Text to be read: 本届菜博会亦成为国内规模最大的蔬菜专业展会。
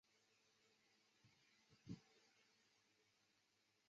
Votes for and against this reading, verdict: 0, 6, rejected